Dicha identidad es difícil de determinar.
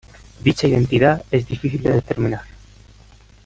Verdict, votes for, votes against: rejected, 0, 2